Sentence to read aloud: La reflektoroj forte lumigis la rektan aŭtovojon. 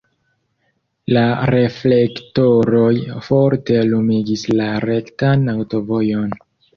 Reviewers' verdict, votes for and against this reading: rejected, 0, 2